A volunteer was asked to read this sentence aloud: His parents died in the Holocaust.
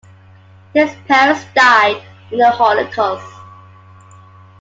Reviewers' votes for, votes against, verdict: 2, 0, accepted